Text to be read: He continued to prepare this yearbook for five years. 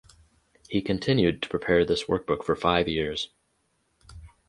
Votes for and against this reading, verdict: 0, 2, rejected